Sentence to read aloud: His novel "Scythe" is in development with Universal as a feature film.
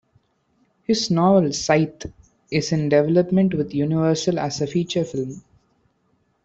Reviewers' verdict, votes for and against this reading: rejected, 0, 2